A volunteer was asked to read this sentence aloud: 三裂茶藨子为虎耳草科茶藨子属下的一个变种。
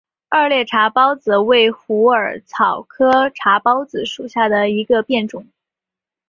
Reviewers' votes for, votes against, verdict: 2, 1, accepted